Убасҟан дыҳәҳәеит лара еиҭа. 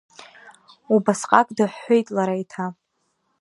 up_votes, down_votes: 1, 2